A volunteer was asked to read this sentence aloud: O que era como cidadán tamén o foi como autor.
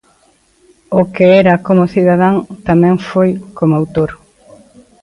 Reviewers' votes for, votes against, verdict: 0, 3, rejected